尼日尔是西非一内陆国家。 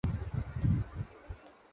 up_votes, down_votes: 0, 2